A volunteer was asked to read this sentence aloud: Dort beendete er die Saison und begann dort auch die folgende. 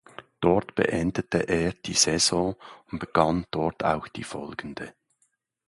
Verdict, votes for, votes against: accepted, 2, 0